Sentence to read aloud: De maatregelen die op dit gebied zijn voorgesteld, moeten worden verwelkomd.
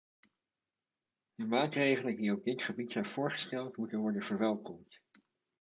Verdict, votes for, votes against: accepted, 2, 0